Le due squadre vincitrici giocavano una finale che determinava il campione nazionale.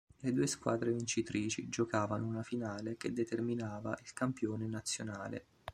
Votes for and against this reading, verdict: 3, 1, accepted